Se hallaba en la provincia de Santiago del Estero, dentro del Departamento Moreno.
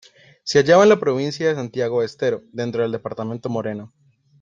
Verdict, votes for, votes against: accepted, 2, 1